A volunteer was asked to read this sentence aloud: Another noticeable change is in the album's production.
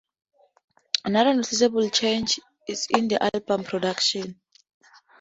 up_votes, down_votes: 2, 0